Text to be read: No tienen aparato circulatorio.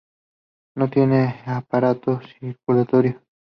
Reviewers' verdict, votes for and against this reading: rejected, 0, 2